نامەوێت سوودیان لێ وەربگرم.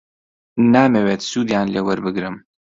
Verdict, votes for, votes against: accepted, 2, 0